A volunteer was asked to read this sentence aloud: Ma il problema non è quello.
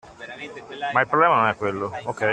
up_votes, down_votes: 2, 1